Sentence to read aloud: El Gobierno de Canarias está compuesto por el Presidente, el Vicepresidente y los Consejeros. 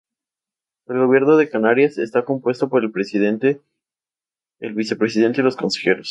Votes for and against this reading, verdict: 2, 0, accepted